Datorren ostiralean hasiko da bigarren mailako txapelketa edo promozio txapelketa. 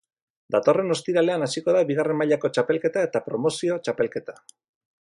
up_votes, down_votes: 2, 2